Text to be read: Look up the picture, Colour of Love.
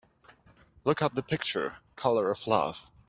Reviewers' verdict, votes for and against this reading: accepted, 2, 0